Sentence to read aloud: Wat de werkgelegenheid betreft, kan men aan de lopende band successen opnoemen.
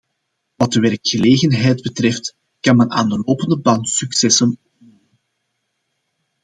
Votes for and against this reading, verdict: 0, 2, rejected